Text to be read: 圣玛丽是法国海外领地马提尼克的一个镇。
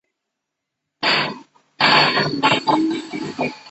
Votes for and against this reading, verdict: 0, 3, rejected